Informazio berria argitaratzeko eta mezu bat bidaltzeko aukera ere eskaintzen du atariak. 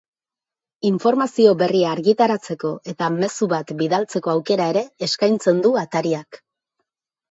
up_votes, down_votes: 2, 0